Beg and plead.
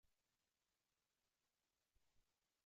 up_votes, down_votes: 1, 2